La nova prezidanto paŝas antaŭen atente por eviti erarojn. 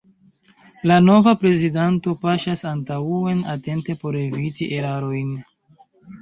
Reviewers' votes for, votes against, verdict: 0, 2, rejected